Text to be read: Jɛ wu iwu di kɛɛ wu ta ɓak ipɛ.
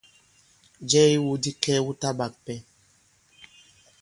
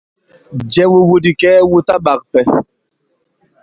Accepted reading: second